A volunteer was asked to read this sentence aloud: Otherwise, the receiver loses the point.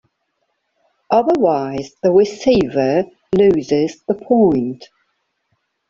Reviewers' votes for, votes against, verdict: 2, 1, accepted